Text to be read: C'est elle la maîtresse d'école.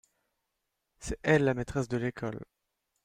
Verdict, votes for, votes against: rejected, 1, 2